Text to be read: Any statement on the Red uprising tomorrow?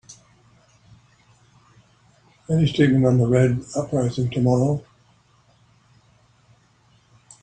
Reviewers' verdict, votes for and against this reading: rejected, 0, 2